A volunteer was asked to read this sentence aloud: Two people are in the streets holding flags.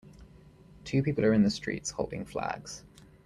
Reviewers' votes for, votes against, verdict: 2, 1, accepted